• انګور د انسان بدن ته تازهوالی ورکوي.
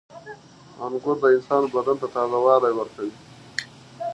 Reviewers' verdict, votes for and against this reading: rejected, 1, 2